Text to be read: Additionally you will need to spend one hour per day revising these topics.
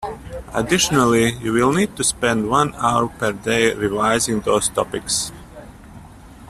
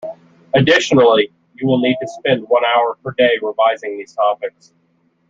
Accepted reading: second